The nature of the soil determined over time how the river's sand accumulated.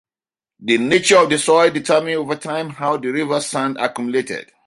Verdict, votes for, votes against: accepted, 2, 0